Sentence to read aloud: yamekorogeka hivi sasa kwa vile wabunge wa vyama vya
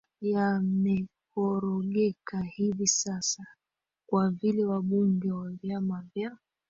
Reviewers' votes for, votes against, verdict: 2, 1, accepted